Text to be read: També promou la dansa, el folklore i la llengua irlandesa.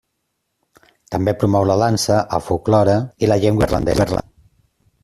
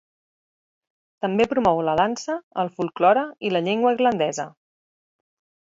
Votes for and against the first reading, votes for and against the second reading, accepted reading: 0, 2, 4, 0, second